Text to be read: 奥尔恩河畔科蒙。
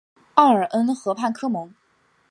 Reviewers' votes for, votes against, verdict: 2, 0, accepted